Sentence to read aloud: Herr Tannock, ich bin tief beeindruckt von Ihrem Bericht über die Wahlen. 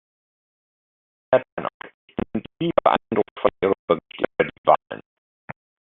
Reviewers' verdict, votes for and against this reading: rejected, 0, 2